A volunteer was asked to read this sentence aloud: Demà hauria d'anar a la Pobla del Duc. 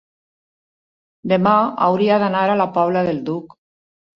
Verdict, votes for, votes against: accepted, 3, 0